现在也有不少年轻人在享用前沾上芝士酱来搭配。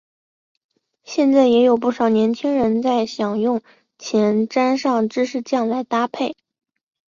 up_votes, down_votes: 4, 0